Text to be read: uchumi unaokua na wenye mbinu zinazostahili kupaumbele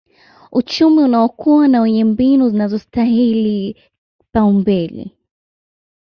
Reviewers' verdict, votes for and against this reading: accepted, 2, 0